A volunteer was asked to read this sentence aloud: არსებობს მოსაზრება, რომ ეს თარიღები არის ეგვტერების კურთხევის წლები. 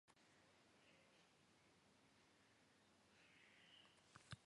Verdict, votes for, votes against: rejected, 1, 2